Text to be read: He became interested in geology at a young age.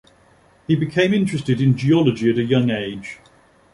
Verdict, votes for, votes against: accepted, 2, 0